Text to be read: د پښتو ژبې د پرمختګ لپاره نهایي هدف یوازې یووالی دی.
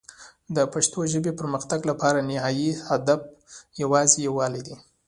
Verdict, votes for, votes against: accepted, 2, 0